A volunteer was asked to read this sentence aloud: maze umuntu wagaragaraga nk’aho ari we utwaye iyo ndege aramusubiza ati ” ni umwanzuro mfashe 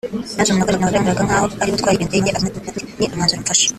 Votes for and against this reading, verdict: 0, 4, rejected